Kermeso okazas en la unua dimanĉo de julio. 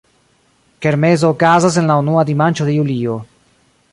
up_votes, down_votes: 1, 2